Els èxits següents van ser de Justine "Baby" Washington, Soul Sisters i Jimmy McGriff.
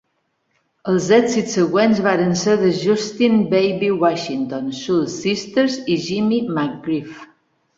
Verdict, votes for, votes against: rejected, 0, 2